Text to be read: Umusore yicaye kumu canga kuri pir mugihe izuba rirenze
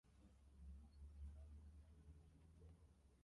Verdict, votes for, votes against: rejected, 0, 2